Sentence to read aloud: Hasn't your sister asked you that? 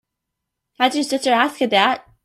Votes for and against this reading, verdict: 1, 2, rejected